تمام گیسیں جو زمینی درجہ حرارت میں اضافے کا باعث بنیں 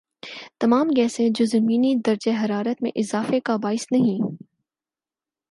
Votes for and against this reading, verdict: 4, 0, accepted